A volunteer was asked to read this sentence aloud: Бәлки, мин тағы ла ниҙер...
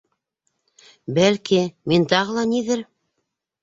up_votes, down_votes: 2, 0